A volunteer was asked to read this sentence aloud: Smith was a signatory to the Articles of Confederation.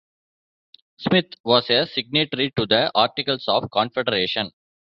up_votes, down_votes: 0, 2